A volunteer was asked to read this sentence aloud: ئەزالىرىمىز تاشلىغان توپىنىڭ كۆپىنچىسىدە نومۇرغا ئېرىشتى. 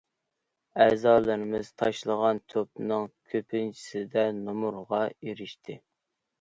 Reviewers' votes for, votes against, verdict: 2, 0, accepted